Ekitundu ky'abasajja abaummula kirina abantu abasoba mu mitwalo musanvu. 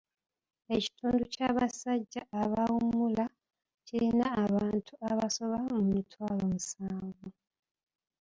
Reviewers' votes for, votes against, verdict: 0, 3, rejected